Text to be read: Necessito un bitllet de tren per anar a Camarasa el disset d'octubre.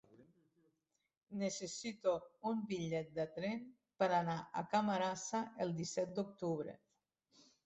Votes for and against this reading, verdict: 1, 2, rejected